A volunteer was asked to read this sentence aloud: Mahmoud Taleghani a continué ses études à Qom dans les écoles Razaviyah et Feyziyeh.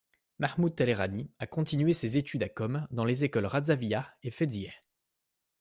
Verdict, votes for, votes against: accepted, 2, 0